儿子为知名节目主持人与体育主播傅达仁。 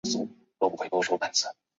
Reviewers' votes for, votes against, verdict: 0, 2, rejected